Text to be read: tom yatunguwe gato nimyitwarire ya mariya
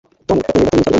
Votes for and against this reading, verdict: 0, 2, rejected